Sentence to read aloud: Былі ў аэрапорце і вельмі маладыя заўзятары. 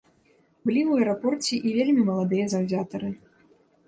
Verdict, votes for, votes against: accepted, 2, 0